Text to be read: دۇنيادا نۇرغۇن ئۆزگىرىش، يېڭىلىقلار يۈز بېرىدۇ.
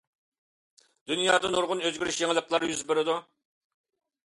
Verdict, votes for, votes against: accepted, 2, 0